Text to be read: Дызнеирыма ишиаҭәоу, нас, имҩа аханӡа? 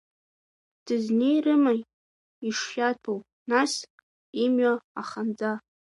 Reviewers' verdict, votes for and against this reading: rejected, 1, 3